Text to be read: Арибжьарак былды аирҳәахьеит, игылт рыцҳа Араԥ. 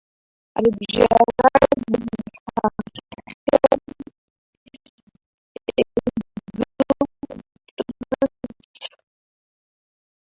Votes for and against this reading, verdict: 0, 2, rejected